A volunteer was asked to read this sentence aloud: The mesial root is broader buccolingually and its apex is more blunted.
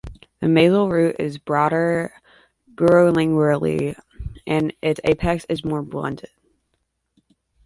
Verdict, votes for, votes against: rejected, 1, 2